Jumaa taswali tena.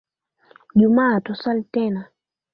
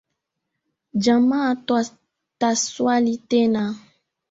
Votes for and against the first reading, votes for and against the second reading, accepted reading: 2, 0, 2, 3, first